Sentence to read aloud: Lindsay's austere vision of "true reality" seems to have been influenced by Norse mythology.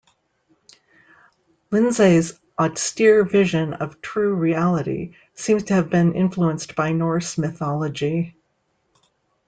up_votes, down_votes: 1, 2